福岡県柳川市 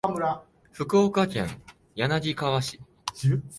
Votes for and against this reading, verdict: 0, 2, rejected